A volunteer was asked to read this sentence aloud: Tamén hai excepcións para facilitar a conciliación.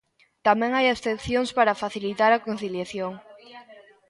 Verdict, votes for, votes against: rejected, 0, 2